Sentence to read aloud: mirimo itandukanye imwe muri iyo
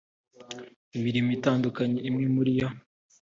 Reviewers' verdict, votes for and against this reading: accepted, 2, 0